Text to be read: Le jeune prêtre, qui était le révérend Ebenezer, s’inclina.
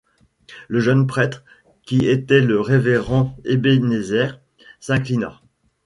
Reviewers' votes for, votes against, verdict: 0, 2, rejected